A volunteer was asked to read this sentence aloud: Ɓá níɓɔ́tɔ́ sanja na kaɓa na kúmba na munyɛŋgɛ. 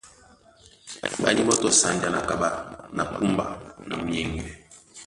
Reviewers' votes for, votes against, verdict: 1, 2, rejected